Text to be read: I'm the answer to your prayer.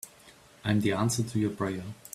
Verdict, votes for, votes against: accepted, 2, 1